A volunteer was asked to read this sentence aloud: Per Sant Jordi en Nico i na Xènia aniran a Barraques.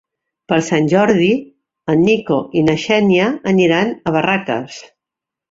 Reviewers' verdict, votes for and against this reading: accepted, 4, 0